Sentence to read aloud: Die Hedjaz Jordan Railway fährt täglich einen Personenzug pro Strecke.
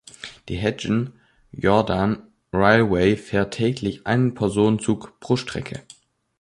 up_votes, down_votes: 1, 2